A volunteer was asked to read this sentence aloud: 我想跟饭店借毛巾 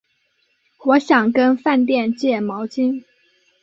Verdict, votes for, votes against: accepted, 10, 0